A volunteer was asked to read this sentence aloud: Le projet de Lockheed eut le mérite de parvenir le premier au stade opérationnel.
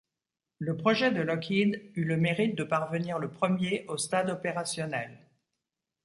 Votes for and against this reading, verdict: 2, 0, accepted